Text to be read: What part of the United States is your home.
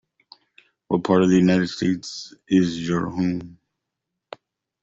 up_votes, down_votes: 2, 0